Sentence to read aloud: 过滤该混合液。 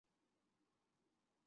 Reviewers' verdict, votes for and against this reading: rejected, 0, 3